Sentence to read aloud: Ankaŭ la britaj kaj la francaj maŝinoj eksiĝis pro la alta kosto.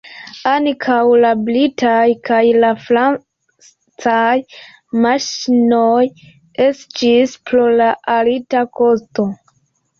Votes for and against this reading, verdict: 2, 1, accepted